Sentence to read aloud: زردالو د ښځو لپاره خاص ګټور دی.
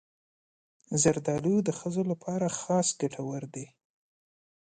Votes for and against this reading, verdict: 2, 0, accepted